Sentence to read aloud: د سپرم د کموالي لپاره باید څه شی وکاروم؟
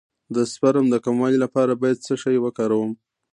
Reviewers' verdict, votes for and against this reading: accepted, 2, 1